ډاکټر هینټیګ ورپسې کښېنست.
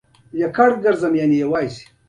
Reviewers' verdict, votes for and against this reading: accepted, 2, 1